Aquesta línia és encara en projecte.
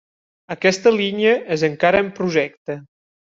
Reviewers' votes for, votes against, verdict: 3, 1, accepted